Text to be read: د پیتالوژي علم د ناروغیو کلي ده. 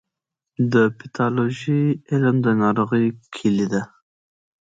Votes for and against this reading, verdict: 2, 0, accepted